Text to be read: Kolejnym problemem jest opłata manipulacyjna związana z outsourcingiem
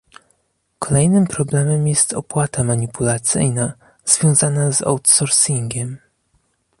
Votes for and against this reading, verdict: 2, 0, accepted